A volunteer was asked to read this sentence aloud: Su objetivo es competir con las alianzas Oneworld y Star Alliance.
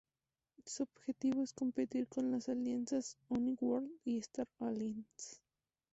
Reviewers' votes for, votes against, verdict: 2, 2, rejected